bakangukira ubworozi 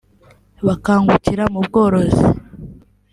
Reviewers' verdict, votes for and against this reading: accepted, 2, 1